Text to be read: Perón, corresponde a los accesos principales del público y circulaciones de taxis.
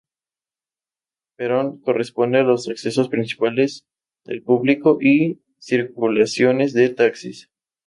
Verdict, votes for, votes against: accepted, 2, 0